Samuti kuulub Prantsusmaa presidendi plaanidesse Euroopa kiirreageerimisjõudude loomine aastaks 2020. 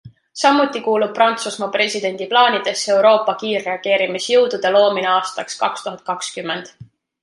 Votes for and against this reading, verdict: 0, 2, rejected